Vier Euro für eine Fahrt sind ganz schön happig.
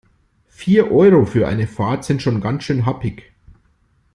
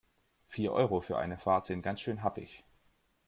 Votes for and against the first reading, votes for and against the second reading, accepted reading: 0, 2, 2, 0, second